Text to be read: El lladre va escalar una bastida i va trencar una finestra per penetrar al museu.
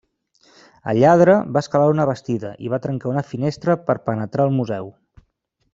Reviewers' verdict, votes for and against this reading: accepted, 2, 0